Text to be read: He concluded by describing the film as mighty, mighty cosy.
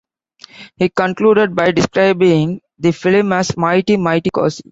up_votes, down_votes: 0, 2